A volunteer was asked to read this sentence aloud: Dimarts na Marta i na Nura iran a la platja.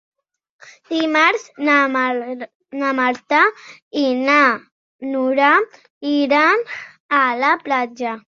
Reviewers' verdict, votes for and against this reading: rejected, 1, 2